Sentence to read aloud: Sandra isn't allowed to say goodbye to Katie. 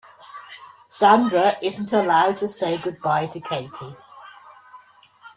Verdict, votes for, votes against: accepted, 2, 1